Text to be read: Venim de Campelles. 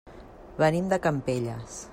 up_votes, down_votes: 3, 0